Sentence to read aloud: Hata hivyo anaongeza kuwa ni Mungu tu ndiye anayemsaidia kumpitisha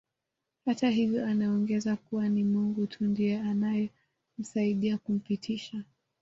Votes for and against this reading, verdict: 2, 0, accepted